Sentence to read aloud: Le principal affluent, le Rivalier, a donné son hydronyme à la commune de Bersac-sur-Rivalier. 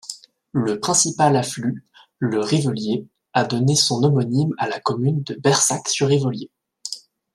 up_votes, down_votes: 0, 2